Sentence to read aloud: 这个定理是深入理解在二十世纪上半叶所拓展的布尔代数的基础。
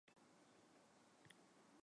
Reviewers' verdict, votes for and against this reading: rejected, 0, 2